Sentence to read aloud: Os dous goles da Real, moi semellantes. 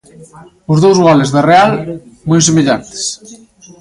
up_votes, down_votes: 1, 2